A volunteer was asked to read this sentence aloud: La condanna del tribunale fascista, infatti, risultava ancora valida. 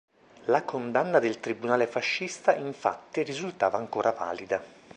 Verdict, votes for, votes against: accepted, 2, 0